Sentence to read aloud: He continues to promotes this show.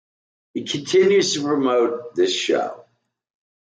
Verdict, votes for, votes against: rejected, 1, 2